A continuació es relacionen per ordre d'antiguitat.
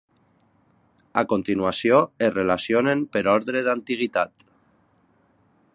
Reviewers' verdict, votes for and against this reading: accepted, 3, 1